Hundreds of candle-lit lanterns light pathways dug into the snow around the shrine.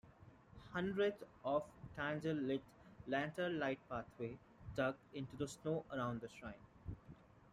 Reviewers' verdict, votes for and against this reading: rejected, 1, 2